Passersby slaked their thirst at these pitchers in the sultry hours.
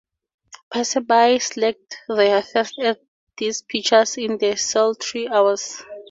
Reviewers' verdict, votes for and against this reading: accepted, 4, 0